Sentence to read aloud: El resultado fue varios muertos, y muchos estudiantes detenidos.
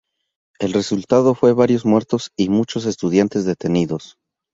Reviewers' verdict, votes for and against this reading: accepted, 4, 0